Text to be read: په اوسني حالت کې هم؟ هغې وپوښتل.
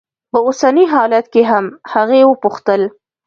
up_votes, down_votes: 2, 0